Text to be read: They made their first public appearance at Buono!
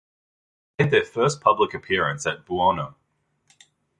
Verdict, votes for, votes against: rejected, 1, 3